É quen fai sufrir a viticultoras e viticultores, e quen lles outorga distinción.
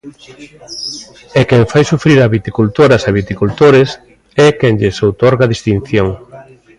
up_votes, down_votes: 0, 2